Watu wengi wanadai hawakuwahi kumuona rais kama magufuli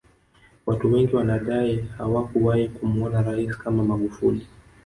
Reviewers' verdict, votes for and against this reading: rejected, 1, 2